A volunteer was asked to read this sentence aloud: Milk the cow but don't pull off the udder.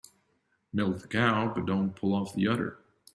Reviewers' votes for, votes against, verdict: 3, 0, accepted